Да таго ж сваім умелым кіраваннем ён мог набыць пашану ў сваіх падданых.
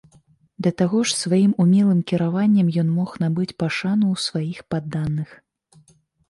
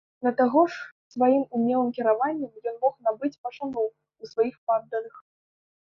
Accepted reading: first